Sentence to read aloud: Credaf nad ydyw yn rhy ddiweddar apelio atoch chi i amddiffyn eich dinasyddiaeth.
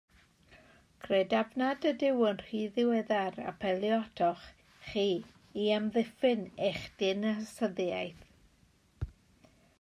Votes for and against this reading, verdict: 1, 2, rejected